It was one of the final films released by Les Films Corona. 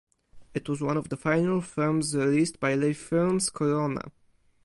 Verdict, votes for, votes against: rejected, 0, 4